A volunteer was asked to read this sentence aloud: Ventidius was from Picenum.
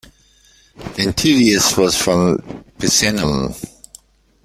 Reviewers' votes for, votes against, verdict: 1, 2, rejected